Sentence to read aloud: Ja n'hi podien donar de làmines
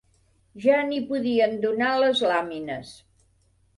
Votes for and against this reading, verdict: 1, 2, rejected